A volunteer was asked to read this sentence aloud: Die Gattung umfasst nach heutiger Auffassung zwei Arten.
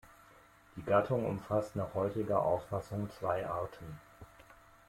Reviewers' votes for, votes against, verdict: 2, 0, accepted